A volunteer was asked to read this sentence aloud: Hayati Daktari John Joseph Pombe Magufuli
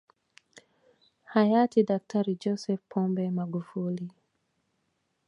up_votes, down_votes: 1, 2